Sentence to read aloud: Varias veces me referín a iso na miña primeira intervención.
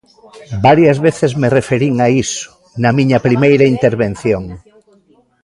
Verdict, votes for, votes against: rejected, 1, 2